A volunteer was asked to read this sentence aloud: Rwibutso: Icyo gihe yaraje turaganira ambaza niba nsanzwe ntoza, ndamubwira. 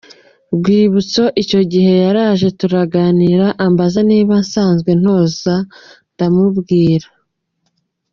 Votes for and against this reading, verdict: 2, 1, accepted